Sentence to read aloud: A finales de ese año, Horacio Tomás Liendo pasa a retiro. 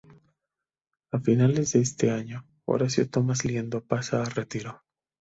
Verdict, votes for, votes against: rejected, 0, 2